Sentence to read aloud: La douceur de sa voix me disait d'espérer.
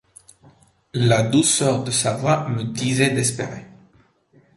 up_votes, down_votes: 2, 0